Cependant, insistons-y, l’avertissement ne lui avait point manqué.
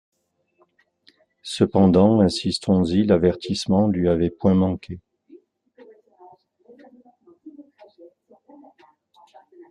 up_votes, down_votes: 1, 2